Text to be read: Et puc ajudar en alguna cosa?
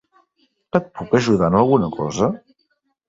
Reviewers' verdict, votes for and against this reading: accepted, 3, 0